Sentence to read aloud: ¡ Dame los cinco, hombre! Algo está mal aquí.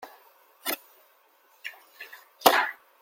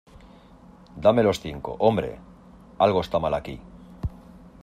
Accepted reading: second